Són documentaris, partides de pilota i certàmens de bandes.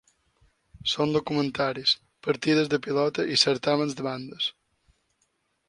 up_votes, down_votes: 3, 0